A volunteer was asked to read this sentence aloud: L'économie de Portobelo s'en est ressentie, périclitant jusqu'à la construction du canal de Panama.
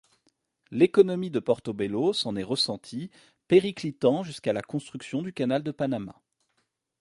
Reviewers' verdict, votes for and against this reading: accepted, 2, 0